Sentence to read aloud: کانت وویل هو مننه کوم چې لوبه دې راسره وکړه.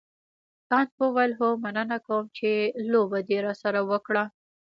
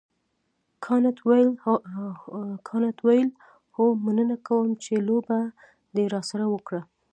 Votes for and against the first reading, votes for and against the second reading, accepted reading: 2, 0, 1, 2, first